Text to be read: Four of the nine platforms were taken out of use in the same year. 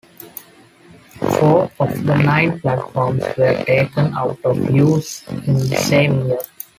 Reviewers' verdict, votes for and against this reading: rejected, 0, 2